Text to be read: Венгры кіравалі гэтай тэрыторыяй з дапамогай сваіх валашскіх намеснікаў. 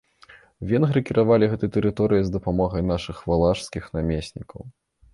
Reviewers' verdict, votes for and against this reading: rejected, 1, 2